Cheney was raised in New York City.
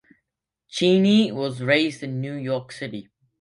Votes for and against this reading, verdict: 2, 0, accepted